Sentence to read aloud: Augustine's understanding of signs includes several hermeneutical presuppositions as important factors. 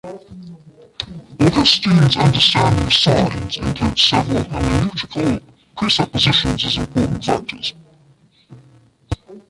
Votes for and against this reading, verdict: 0, 2, rejected